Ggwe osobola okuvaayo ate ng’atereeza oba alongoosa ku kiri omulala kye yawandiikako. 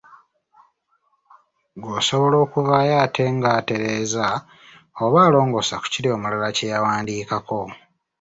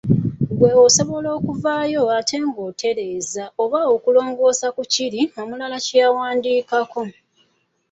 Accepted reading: first